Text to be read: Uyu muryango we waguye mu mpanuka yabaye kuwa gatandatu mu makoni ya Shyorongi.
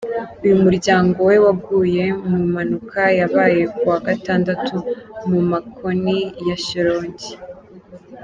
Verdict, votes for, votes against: accepted, 2, 0